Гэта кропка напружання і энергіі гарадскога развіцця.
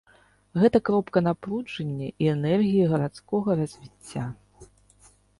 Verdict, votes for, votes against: accepted, 2, 0